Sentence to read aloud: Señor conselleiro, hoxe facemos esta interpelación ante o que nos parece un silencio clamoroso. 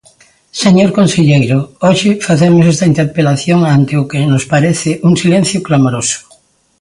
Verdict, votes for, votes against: accepted, 2, 0